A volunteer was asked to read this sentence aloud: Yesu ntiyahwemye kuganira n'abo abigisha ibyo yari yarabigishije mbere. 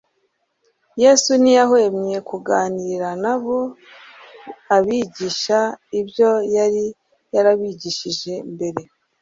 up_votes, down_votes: 1, 2